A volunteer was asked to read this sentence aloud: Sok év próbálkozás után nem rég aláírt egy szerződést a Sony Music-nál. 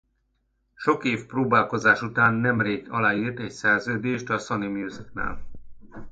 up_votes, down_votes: 2, 0